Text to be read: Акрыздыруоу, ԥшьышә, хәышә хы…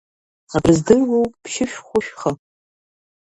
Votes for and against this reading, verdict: 0, 2, rejected